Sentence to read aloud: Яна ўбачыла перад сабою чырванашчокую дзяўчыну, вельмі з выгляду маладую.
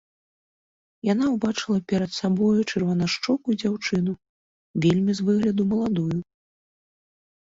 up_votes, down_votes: 2, 0